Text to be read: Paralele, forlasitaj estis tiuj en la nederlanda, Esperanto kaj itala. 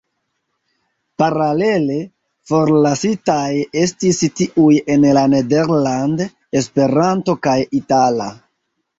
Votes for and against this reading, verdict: 1, 3, rejected